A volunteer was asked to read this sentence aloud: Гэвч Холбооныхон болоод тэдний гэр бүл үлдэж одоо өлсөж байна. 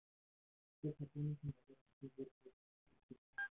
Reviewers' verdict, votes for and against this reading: rejected, 0, 2